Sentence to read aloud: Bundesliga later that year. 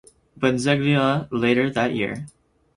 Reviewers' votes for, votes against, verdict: 0, 4, rejected